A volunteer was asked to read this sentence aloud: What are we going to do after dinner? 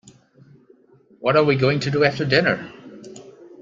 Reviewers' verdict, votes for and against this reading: accepted, 2, 0